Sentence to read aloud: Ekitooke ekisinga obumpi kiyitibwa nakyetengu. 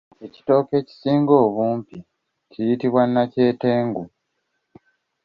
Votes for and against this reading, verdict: 2, 0, accepted